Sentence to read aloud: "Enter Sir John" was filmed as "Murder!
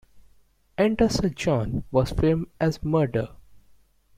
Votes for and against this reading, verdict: 0, 2, rejected